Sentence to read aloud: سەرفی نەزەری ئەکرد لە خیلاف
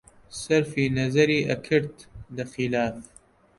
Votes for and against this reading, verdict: 2, 0, accepted